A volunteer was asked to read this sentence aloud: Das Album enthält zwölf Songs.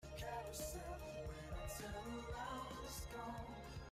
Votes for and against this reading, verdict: 0, 2, rejected